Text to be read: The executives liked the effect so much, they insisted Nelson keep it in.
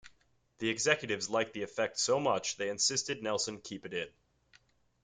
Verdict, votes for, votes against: accepted, 2, 0